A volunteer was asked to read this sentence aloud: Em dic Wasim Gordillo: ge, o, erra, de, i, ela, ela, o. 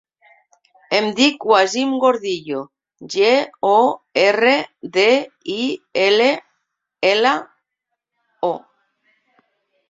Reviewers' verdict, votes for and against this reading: rejected, 1, 2